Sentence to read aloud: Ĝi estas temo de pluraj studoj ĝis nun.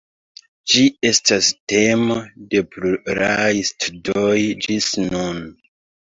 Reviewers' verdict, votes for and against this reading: rejected, 0, 2